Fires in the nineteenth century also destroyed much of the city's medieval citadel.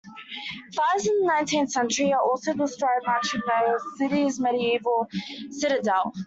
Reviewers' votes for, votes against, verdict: 2, 0, accepted